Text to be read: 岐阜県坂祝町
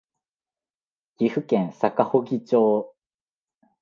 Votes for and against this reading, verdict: 2, 0, accepted